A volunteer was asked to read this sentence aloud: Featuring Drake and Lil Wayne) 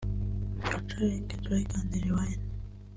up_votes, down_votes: 0, 2